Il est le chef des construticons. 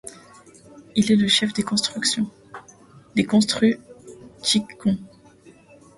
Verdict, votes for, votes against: rejected, 1, 2